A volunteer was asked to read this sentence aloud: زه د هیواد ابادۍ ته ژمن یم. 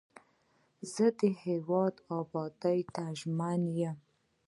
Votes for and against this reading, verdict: 1, 2, rejected